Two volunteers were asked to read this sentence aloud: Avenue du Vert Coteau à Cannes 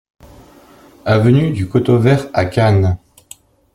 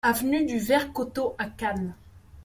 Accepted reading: second